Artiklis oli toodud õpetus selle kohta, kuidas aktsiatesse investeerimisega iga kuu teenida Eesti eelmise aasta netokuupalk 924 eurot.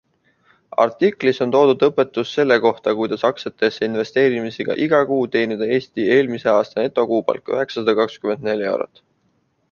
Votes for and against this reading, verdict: 0, 2, rejected